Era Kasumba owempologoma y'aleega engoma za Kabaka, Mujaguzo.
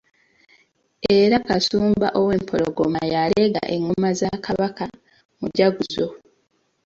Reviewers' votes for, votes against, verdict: 1, 2, rejected